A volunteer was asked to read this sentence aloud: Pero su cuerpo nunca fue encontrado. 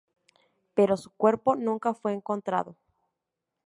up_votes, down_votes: 2, 0